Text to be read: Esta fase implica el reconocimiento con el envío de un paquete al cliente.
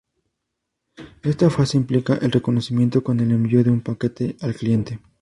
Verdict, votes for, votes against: accepted, 4, 0